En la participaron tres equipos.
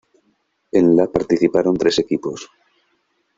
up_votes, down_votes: 2, 0